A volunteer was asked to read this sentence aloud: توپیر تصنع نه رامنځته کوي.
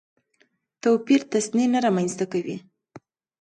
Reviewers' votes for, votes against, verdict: 2, 0, accepted